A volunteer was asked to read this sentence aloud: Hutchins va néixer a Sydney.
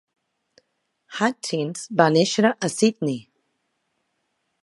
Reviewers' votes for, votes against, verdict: 2, 0, accepted